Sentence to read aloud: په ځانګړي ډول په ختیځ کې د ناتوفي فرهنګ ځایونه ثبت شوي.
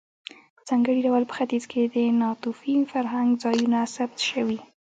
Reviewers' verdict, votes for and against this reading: accepted, 2, 0